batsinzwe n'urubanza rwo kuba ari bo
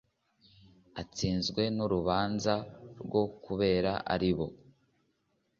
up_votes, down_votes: 0, 2